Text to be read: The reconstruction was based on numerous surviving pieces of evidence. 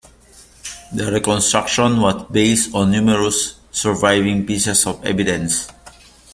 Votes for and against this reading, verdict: 2, 0, accepted